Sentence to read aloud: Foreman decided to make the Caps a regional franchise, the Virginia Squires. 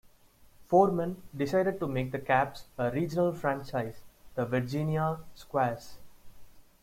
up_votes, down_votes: 0, 2